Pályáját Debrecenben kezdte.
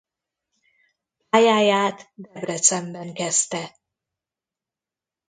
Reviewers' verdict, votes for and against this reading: rejected, 0, 2